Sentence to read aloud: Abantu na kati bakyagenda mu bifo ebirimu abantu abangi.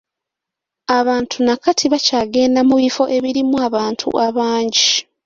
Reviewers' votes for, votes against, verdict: 2, 0, accepted